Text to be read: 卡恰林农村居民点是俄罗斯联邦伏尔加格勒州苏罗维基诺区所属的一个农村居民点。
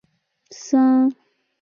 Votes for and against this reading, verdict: 0, 5, rejected